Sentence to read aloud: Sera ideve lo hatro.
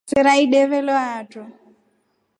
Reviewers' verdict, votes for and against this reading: accepted, 2, 0